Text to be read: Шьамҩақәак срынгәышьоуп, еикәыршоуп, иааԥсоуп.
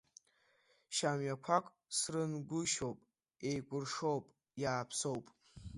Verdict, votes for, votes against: rejected, 0, 2